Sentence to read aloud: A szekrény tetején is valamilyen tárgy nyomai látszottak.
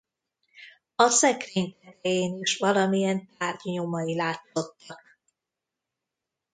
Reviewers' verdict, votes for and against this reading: rejected, 0, 2